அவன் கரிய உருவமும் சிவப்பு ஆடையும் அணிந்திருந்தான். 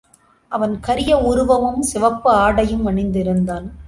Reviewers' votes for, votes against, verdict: 3, 0, accepted